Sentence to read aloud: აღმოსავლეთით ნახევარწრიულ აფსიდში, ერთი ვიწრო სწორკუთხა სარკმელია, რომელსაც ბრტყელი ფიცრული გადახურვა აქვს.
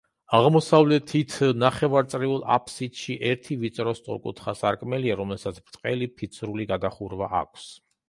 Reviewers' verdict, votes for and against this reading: accepted, 2, 0